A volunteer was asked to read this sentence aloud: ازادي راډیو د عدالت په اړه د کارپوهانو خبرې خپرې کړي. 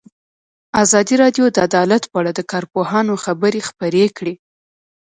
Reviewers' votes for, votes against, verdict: 0, 2, rejected